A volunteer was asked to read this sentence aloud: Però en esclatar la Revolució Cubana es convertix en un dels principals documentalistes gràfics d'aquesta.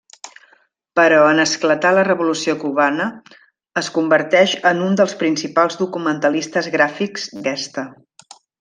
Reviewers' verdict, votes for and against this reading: rejected, 0, 2